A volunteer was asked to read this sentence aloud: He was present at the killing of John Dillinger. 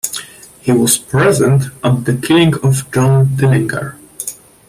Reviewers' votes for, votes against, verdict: 0, 2, rejected